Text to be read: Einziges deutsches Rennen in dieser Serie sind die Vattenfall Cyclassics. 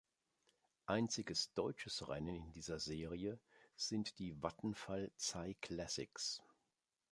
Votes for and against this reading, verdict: 2, 0, accepted